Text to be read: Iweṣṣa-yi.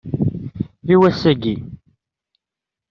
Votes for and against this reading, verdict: 0, 2, rejected